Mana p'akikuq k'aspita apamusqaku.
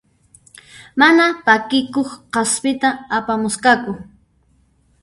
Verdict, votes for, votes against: rejected, 1, 2